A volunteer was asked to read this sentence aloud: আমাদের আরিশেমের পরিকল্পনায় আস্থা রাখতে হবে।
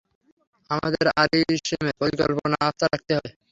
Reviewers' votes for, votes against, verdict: 0, 3, rejected